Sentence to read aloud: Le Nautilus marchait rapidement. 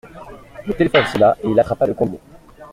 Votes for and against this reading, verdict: 0, 2, rejected